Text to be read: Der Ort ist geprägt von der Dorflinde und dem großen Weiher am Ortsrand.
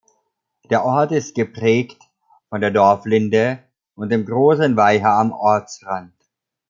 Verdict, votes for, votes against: accepted, 2, 0